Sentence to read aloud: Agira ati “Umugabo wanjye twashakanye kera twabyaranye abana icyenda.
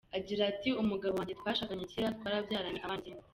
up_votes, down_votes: 0, 2